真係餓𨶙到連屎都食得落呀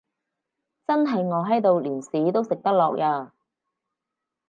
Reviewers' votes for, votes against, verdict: 0, 4, rejected